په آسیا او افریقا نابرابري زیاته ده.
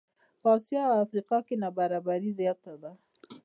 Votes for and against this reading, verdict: 2, 0, accepted